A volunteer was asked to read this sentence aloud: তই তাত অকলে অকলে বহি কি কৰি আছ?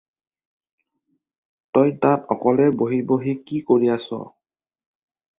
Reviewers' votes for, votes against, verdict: 0, 4, rejected